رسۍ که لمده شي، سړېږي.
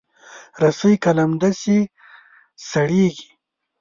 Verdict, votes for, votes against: accepted, 3, 0